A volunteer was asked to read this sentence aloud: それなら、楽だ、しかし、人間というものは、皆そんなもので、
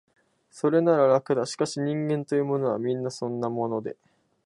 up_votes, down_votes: 12, 0